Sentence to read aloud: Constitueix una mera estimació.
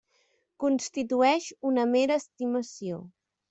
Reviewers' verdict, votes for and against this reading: accepted, 3, 0